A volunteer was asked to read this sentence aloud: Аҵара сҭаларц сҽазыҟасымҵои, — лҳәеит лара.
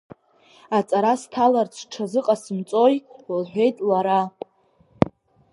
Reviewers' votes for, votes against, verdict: 3, 0, accepted